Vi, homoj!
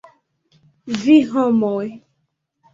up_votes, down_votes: 2, 1